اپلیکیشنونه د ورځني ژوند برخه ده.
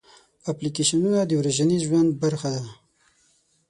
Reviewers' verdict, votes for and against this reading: rejected, 3, 6